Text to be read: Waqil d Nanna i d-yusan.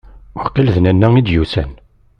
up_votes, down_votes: 2, 0